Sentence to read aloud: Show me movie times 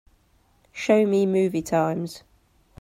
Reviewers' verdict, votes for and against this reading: accepted, 2, 1